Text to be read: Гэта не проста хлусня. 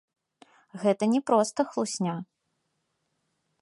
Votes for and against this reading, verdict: 2, 1, accepted